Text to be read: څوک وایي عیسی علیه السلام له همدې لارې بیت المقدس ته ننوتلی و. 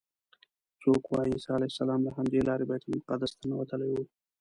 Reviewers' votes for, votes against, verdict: 0, 2, rejected